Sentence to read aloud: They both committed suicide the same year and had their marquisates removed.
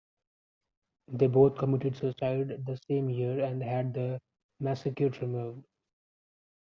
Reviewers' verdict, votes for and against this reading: rejected, 0, 2